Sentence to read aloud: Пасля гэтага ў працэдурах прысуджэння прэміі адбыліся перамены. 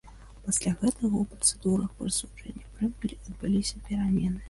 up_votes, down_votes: 0, 2